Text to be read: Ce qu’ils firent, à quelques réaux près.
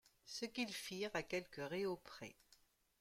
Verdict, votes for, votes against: accepted, 2, 0